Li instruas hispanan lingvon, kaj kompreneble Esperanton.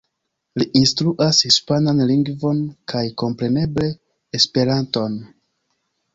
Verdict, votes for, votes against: accepted, 2, 0